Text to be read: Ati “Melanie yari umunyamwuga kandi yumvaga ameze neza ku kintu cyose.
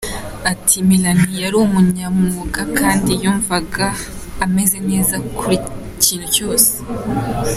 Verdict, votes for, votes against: accepted, 2, 0